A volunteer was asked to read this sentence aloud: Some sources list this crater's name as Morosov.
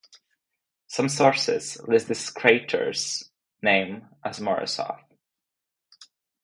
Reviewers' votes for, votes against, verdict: 2, 0, accepted